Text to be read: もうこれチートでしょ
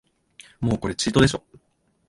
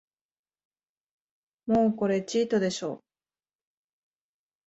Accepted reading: first